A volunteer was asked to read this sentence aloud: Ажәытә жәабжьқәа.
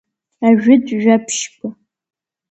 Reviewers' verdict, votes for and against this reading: accepted, 2, 1